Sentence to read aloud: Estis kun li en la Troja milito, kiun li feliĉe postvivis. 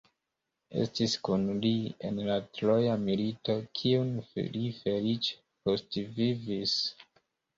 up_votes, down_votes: 1, 2